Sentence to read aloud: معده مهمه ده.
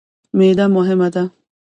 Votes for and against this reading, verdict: 0, 2, rejected